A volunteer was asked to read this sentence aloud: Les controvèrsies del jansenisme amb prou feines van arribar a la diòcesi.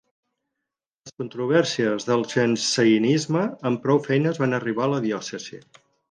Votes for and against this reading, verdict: 0, 4, rejected